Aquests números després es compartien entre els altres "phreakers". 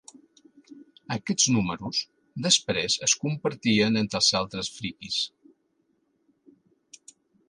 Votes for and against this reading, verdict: 1, 2, rejected